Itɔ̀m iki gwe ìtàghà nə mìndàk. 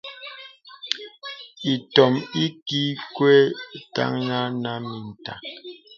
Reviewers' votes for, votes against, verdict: 0, 2, rejected